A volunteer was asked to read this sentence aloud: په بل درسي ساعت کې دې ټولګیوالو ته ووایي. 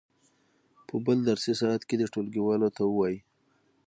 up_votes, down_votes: 6, 0